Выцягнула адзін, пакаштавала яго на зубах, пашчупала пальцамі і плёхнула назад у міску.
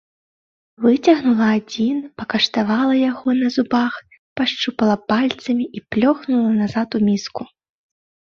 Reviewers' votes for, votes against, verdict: 2, 0, accepted